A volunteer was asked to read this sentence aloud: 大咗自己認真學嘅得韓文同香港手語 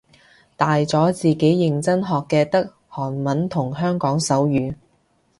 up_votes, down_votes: 2, 0